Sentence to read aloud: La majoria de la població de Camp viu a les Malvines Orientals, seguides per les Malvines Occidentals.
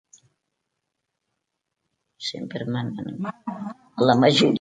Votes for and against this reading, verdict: 0, 2, rejected